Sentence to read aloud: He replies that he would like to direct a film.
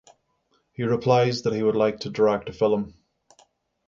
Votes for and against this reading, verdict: 3, 3, rejected